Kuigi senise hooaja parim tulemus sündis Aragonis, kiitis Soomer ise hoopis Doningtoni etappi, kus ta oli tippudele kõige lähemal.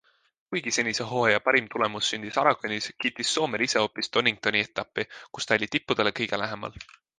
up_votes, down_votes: 2, 0